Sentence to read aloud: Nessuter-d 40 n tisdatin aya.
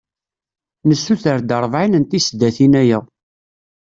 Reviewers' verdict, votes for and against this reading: rejected, 0, 2